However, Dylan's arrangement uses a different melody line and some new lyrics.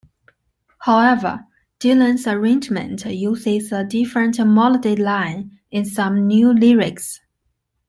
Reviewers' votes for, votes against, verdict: 0, 2, rejected